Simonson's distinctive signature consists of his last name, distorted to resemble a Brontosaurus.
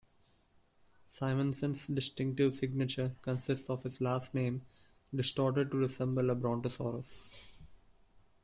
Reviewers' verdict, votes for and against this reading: rejected, 1, 2